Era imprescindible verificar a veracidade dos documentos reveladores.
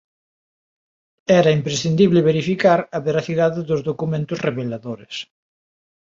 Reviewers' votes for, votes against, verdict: 3, 0, accepted